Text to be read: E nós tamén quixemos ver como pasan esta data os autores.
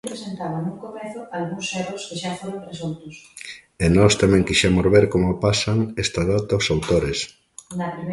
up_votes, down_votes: 0, 2